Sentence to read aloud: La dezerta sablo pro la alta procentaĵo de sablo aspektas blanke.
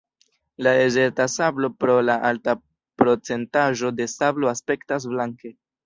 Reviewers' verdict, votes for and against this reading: accepted, 2, 0